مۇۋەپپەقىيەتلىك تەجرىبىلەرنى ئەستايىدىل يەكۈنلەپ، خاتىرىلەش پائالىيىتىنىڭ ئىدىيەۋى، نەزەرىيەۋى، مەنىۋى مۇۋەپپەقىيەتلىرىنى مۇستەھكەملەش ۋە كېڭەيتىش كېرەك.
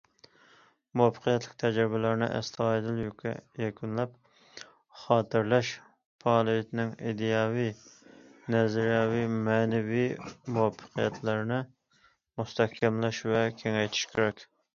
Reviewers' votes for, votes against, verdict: 0, 2, rejected